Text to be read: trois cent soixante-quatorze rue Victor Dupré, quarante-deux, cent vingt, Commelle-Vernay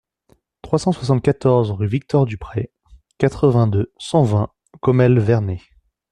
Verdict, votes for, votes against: rejected, 0, 2